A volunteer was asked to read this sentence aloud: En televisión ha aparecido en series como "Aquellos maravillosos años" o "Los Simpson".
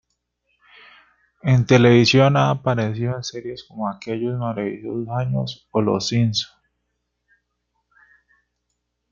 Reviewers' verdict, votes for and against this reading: rejected, 1, 2